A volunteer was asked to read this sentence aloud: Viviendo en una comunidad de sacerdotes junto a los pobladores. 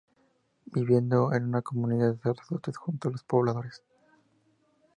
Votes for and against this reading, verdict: 2, 0, accepted